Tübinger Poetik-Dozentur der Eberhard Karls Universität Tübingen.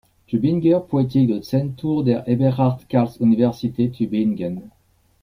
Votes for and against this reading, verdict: 0, 2, rejected